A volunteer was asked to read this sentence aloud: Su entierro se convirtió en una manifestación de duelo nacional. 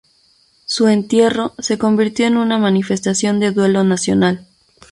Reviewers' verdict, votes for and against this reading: accepted, 2, 0